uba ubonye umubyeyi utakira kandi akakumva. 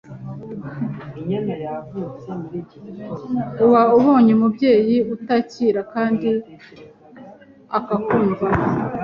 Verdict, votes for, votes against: accepted, 2, 0